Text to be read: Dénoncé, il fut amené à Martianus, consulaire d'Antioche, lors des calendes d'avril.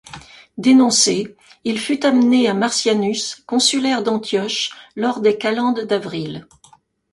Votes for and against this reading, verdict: 2, 0, accepted